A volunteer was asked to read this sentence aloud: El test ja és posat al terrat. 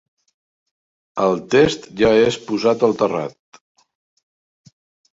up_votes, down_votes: 3, 0